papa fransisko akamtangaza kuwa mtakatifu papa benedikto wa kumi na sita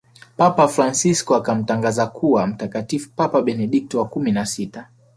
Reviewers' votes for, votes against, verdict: 1, 2, rejected